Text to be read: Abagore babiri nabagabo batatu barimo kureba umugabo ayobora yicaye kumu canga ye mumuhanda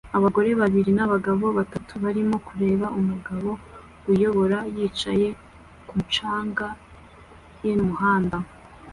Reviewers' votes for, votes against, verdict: 2, 0, accepted